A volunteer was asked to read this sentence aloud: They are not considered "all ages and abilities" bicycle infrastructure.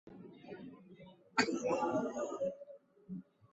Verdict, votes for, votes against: rejected, 0, 2